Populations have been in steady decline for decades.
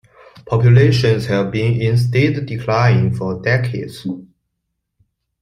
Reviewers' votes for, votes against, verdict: 2, 0, accepted